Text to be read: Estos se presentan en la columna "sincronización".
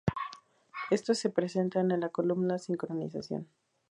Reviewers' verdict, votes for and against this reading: accepted, 2, 0